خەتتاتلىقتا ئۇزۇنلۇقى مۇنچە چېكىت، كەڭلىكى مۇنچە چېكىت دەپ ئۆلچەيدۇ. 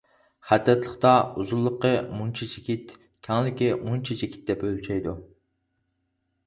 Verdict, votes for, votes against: rejected, 2, 4